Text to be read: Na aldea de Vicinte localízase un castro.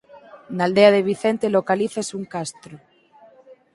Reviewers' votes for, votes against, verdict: 2, 4, rejected